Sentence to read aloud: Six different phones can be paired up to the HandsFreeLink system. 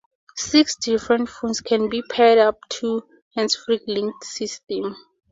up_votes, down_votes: 2, 2